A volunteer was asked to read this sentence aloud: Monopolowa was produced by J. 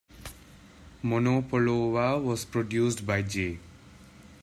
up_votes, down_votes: 1, 2